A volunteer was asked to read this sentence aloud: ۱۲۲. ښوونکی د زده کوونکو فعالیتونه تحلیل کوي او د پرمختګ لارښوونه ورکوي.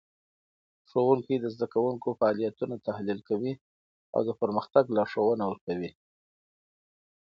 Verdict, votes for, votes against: rejected, 0, 2